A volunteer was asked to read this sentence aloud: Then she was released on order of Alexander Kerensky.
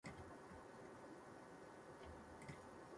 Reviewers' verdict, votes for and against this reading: rejected, 0, 2